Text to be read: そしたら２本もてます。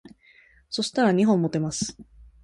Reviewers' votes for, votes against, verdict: 0, 2, rejected